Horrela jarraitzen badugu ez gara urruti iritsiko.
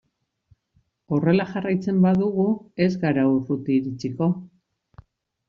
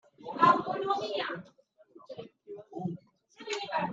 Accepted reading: first